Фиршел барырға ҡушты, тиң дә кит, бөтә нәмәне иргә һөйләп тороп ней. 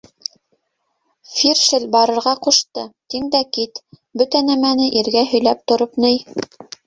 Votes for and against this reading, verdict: 1, 2, rejected